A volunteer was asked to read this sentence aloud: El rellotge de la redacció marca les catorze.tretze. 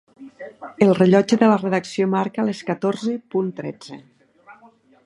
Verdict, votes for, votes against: accepted, 2, 0